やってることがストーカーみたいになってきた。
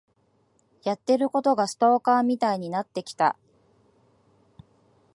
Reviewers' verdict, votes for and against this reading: accepted, 2, 0